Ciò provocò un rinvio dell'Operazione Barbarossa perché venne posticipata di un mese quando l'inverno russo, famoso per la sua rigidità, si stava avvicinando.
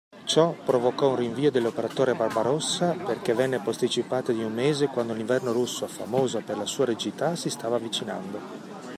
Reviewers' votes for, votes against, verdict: 0, 2, rejected